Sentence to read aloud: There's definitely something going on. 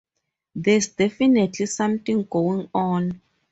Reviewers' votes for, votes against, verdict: 4, 0, accepted